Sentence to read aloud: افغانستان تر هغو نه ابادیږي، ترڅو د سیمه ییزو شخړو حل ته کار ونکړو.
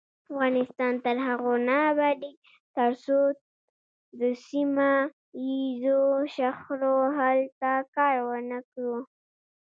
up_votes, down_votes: 0, 2